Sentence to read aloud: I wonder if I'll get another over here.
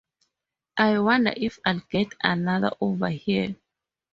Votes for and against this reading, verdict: 4, 0, accepted